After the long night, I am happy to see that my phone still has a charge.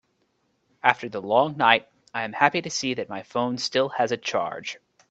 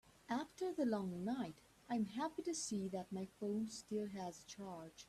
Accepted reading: first